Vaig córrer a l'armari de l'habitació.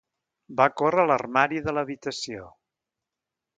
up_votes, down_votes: 1, 2